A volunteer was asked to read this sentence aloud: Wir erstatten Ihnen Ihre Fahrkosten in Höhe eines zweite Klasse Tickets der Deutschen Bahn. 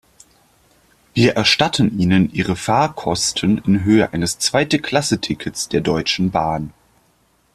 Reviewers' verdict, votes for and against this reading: accepted, 2, 0